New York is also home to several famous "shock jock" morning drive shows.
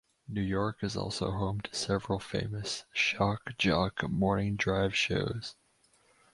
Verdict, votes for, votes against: accepted, 4, 0